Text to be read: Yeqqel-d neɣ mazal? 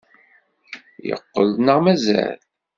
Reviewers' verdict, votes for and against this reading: accepted, 2, 0